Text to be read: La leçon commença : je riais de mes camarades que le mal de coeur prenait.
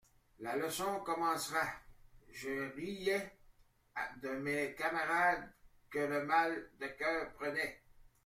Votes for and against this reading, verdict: 1, 2, rejected